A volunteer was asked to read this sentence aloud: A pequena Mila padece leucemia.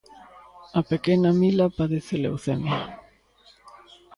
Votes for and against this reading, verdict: 2, 0, accepted